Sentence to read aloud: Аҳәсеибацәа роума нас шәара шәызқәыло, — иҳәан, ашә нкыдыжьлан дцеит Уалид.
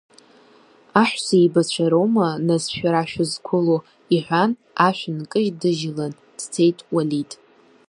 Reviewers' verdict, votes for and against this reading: rejected, 1, 2